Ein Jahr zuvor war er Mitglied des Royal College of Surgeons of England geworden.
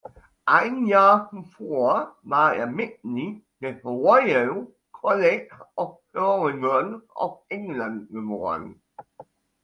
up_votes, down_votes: 0, 2